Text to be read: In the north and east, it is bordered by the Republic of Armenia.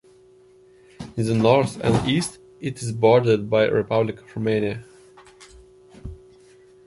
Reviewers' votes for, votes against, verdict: 1, 2, rejected